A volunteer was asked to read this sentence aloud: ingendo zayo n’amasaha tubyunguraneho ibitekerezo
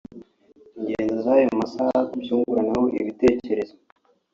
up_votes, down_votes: 0, 2